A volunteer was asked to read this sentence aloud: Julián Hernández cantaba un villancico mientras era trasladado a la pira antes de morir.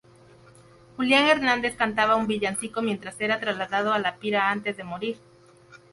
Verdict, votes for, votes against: accepted, 2, 0